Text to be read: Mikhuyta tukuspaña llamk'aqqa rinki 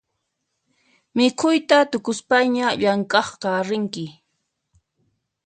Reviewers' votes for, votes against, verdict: 2, 0, accepted